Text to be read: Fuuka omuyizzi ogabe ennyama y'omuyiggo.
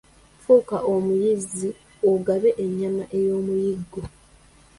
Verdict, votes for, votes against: rejected, 0, 2